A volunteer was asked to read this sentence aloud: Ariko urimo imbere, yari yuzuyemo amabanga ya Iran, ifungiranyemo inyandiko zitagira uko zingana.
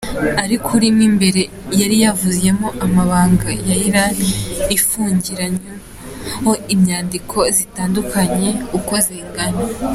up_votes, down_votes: 1, 2